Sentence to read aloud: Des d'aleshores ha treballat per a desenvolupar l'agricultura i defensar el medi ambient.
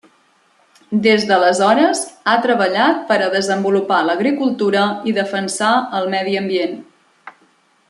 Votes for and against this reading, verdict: 3, 0, accepted